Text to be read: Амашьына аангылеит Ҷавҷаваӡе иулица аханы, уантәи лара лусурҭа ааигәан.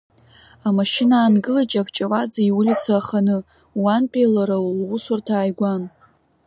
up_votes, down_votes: 3, 1